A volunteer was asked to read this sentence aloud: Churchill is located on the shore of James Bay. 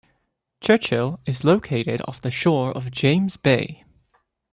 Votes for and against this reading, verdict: 1, 2, rejected